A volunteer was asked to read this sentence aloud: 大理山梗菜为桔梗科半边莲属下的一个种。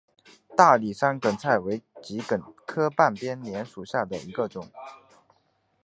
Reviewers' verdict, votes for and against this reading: accepted, 2, 0